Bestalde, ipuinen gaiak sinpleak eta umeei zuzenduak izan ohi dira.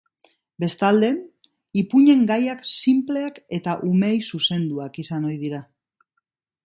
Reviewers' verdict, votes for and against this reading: accepted, 2, 0